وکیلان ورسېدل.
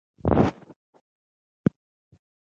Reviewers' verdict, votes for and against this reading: rejected, 1, 2